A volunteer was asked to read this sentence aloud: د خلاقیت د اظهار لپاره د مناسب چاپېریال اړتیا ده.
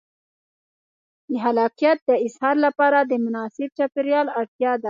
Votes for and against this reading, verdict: 2, 0, accepted